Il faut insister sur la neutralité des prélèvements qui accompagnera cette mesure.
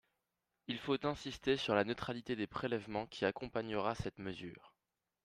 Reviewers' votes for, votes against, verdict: 2, 4, rejected